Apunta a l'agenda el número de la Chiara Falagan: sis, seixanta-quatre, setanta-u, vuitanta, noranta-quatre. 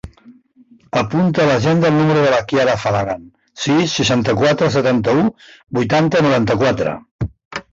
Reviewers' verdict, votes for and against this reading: accepted, 2, 1